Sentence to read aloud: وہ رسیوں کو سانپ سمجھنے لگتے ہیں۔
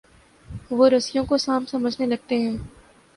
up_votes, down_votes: 5, 0